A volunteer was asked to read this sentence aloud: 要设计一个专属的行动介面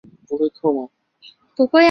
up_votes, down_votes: 0, 3